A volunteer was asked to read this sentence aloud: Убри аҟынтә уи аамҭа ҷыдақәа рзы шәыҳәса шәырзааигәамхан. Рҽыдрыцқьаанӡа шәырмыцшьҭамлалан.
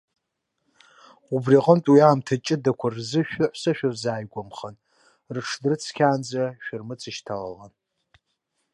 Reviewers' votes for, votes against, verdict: 0, 2, rejected